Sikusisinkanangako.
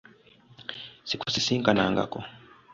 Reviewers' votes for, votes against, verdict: 2, 0, accepted